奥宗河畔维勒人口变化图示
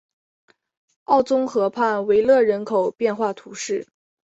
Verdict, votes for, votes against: accepted, 2, 0